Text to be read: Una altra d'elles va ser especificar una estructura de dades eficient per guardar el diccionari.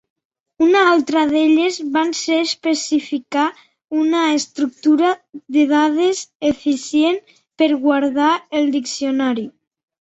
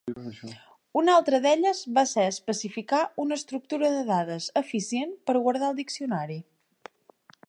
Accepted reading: second